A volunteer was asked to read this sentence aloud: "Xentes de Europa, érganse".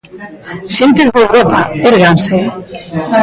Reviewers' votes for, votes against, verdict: 1, 2, rejected